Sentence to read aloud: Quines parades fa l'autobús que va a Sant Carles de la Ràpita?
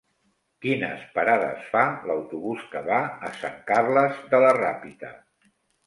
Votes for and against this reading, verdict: 1, 2, rejected